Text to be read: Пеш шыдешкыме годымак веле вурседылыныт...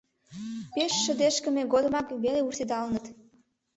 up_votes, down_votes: 1, 2